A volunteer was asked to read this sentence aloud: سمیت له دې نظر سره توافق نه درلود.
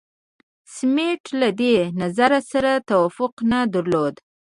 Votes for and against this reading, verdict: 0, 2, rejected